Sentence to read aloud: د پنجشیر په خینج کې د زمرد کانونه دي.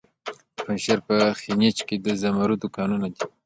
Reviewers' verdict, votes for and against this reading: accepted, 2, 0